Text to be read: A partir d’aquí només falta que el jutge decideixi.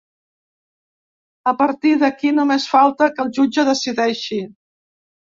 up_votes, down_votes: 3, 0